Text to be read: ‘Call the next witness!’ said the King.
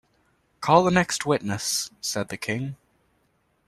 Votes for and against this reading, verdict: 2, 0, accepted